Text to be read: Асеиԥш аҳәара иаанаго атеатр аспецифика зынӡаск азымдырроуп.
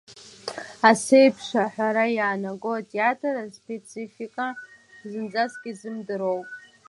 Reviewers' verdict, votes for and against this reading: rejected, 1, 2